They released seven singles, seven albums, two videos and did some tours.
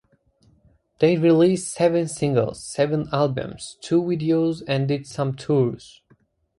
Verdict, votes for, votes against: accepted, 2, 0